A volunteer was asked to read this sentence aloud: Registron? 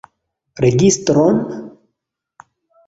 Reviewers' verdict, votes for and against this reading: accepted, 2, 0